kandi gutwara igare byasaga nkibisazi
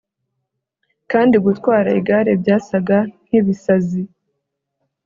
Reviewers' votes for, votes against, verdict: 2, 0, accepted